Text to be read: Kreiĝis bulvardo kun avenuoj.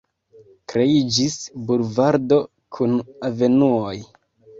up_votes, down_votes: 2, 1